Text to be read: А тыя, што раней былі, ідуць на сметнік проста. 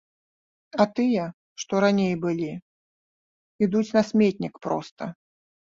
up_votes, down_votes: 2, 0